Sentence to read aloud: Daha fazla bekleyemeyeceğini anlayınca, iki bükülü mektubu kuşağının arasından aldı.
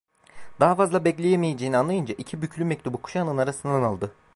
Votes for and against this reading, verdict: 0, 2, rejected